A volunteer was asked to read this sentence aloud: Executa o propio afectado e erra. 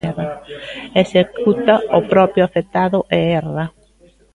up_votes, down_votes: 0, 2